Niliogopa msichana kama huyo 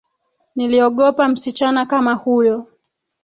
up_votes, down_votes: 2, 1